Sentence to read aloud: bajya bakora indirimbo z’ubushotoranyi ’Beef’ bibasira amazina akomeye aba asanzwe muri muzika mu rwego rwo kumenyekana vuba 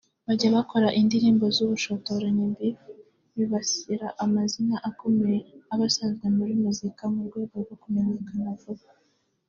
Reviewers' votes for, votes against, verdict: 2, 0, accepted